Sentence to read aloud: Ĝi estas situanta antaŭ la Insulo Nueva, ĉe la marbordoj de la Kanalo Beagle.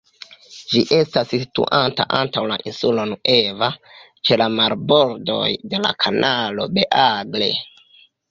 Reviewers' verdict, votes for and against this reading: rejected, 0, 2